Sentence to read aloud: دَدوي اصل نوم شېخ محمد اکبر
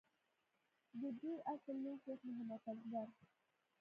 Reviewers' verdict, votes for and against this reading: rejected, 1, 2